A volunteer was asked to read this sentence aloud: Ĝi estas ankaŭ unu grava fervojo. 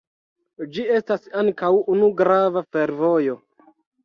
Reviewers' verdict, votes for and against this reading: rejected, 1, 2